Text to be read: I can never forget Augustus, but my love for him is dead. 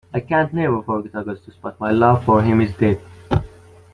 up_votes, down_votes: 1, 2